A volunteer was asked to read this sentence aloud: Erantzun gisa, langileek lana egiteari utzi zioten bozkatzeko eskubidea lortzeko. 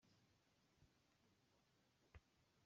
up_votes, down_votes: 0, 2